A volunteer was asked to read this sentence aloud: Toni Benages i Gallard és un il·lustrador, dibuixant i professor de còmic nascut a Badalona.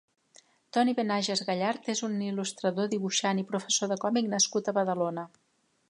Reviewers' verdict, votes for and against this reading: rejected, 0, 2